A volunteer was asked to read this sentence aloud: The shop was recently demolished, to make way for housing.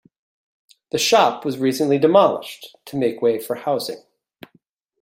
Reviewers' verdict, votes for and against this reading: accepted, 2, 0